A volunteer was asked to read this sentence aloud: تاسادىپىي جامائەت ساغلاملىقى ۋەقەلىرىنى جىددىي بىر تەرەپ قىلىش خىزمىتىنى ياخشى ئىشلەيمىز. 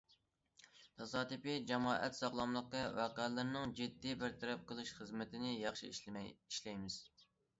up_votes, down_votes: 0, 2